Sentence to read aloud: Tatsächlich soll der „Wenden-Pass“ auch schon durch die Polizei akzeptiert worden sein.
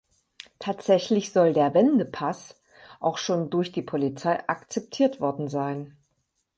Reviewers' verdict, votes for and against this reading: accepted, 4, 2